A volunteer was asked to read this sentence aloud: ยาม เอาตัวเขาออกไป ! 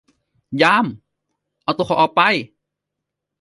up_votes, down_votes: 2, 0